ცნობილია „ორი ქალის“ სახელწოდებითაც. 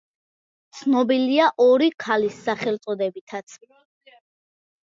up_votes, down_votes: 2, 1